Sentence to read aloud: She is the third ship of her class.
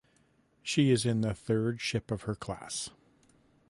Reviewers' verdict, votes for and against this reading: rejected, 0, 2